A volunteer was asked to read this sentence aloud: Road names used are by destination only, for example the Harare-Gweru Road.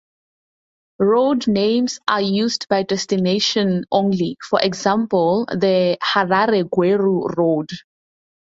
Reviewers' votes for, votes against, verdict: 2, 2, rejected